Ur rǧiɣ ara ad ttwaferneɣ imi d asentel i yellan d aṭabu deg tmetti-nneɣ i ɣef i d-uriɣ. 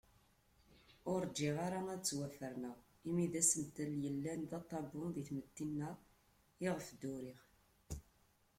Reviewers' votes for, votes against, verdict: 1, 2, rejected